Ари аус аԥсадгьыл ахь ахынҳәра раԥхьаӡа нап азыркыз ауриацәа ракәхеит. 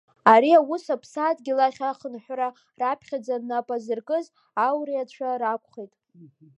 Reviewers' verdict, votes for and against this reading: accepted, 2, 0